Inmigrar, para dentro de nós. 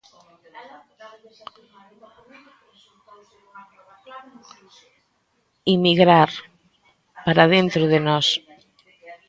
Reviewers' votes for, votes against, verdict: 1, 2, rejected